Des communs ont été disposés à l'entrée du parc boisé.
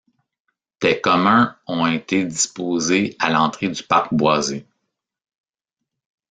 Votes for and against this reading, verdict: 0, 2, rejected